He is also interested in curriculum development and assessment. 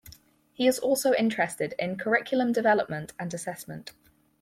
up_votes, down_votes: 4, 0